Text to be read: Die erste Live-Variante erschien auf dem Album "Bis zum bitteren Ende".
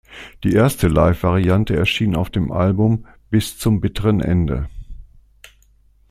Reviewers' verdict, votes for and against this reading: accepted, 2, 0